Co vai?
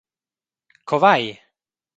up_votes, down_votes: 2, 0